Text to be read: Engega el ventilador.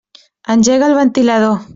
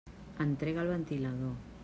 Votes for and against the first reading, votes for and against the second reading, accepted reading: 3, 0, 1, 2, first